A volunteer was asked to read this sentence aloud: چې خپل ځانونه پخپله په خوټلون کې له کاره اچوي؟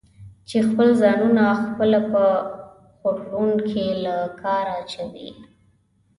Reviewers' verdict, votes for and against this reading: rejected, 0, 2